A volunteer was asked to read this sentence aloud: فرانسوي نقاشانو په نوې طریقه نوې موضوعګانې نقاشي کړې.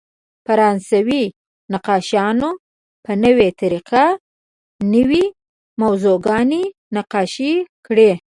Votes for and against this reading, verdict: 2, 0, accepted